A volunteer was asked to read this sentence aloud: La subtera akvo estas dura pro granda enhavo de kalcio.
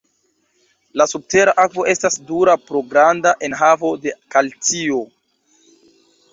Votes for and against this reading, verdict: 2, 0, accepted